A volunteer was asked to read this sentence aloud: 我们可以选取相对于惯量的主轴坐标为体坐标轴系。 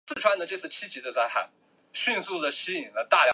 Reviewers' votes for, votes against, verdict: 0, 2, rejected